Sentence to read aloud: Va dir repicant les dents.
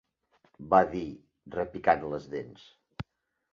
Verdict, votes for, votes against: accepted, 2, 0